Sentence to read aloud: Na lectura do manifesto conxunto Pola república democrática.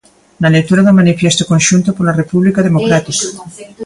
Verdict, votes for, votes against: rejected, 0, 2